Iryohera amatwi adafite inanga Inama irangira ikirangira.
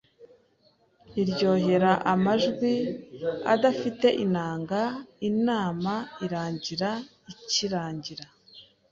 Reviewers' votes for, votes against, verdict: 1, 2, rejected